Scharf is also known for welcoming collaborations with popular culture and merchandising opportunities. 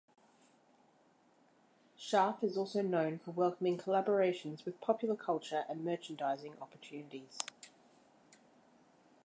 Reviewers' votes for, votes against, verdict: 1, 2, rejected